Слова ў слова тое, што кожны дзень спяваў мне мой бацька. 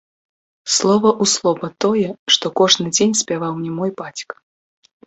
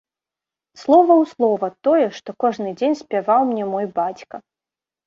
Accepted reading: second